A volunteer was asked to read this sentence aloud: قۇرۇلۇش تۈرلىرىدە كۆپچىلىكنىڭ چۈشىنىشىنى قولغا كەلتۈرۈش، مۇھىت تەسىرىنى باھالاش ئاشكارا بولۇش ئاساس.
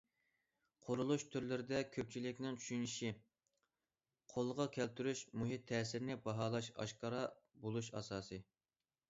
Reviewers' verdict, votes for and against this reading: rejected, 0, 2